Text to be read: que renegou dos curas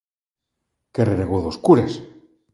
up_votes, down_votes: 2, 0